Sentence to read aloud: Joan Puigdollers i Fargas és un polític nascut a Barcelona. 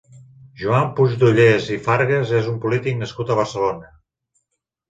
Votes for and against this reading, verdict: 2, 0, accepted